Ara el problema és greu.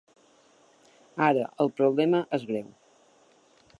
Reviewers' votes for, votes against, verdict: 4, 0, accepted